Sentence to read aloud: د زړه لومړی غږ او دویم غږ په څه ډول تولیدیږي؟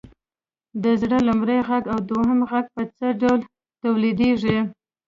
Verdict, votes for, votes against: rejected, 0, 2